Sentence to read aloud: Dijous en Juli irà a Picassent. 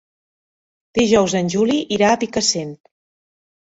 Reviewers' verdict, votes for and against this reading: accepted, 2, 0